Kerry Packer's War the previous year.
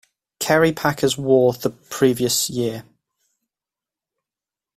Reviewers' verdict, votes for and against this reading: accepted, 2, 0